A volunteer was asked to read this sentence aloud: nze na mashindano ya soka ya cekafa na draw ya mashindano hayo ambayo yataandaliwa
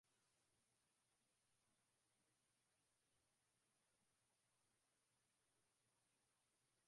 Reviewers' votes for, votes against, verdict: 0, 4, rejected